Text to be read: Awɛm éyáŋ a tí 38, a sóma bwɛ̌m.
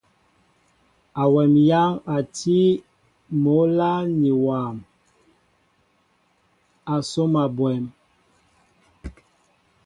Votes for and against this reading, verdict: 0, 2, rejected